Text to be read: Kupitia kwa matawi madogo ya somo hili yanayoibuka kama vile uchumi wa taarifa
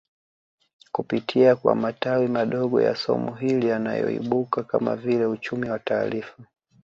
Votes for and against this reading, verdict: 1, 2, rejected